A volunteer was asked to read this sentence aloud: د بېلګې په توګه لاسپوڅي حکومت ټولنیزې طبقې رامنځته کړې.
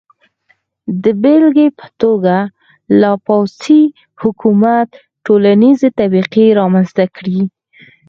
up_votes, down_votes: 2, 4